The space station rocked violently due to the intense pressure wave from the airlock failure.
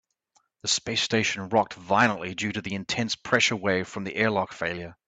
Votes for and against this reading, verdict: 2, 0, accepted